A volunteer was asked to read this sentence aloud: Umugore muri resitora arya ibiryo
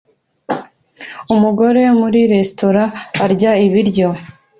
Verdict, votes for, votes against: accepted, 2, 0